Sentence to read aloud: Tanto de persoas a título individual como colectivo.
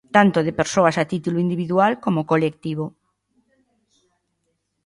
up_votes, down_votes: 2, 0